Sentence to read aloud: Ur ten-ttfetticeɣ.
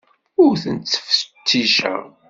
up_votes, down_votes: 2, 0